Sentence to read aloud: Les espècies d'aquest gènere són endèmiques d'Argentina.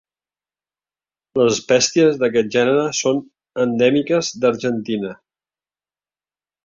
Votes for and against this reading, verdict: 0, 2, rejected